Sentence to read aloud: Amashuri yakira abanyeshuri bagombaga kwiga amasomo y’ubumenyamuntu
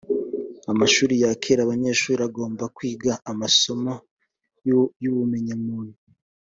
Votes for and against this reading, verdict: 0, 2, rejected